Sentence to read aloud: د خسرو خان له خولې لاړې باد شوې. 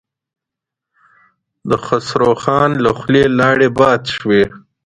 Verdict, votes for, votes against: accepted, 2, 1